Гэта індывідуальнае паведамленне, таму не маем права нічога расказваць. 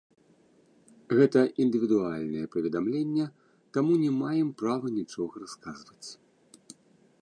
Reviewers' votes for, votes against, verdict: 0, 2, rejected